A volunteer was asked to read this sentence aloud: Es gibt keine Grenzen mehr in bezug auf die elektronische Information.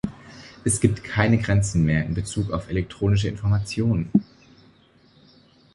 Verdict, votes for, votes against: rejected, 0, 2